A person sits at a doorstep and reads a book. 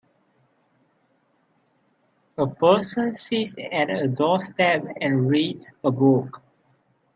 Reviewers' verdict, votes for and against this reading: rejected, 1, 2